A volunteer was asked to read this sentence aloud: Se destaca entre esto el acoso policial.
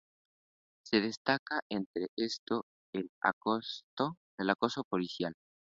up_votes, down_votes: 0, 2